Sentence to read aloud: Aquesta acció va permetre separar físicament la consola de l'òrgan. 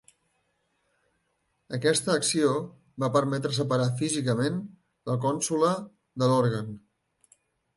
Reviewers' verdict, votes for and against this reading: rejected, 0, 2